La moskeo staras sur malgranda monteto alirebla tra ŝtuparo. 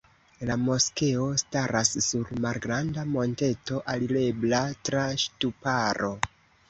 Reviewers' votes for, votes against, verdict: 2, 0, accepted